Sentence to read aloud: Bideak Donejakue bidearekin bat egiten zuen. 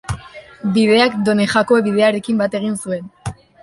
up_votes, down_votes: 0, 3